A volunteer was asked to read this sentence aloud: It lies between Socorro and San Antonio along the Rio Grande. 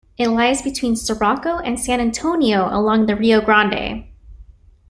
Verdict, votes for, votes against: rejected, 0, 2